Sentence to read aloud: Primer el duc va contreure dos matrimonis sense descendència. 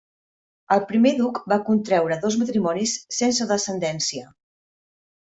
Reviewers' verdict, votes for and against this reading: rejected, 1, 2